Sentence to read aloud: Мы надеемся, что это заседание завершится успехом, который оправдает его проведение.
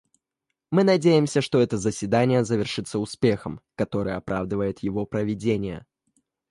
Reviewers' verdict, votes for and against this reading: accepted, 2, 1